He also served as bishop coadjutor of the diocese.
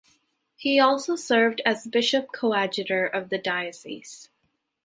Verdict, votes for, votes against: accepted, 2, 0